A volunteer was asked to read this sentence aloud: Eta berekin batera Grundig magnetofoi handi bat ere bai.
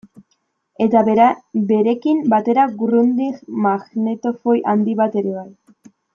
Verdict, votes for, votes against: rejected, 0, 2